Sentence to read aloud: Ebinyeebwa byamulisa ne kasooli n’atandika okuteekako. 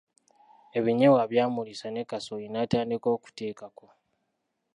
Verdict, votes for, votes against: accepted, 3, 1